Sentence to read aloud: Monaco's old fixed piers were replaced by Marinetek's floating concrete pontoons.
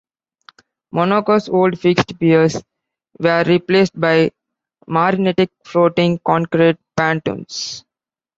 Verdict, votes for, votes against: rejected, 1, 2